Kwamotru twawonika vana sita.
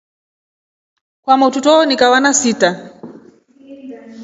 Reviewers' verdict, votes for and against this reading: accepted, 2, 0